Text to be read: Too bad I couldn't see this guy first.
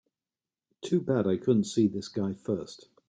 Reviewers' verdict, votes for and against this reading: accepted, 3, 0